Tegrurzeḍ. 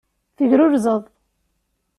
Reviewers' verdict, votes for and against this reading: accepted, 2, 0